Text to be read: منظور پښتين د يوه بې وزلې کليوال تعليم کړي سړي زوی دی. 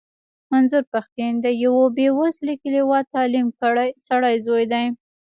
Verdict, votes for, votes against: rejected, 1, 2